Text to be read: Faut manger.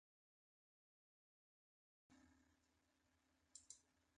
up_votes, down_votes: 0, 2